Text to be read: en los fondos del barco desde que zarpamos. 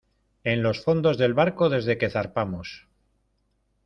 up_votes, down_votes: 2, 0